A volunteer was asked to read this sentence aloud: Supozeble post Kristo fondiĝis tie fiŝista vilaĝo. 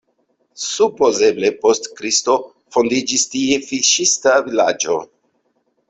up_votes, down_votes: 2, 0